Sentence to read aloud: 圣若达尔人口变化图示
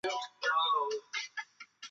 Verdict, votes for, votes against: rejected, 1, 2